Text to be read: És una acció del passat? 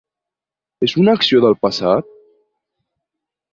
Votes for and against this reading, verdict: 2, 0, accepted